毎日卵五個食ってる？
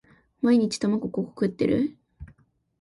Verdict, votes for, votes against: accepted, 2, 0